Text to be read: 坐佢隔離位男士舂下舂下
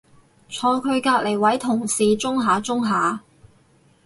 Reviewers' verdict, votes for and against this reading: rejected, 0, 4